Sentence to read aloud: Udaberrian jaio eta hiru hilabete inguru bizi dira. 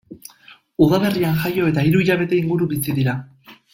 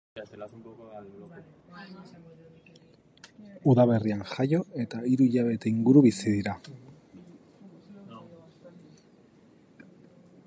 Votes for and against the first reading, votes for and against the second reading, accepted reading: 2, 0, 3, 3, first